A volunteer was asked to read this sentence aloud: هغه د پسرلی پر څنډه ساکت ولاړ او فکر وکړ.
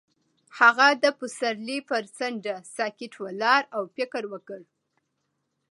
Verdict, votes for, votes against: accepted, 2, 0